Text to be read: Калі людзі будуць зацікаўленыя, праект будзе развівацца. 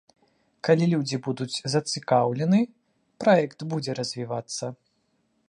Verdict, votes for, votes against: rejected, 0, 2